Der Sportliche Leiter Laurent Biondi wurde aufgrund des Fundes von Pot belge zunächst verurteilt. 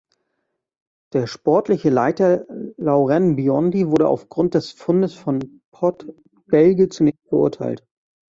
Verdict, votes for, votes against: rejected, 1, 2